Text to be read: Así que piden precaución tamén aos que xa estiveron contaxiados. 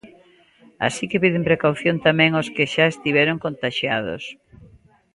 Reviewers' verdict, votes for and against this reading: accepted, 3, 0